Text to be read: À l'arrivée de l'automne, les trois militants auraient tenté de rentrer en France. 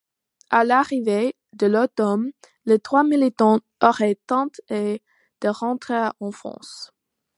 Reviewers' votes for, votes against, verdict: 2, 1, accepted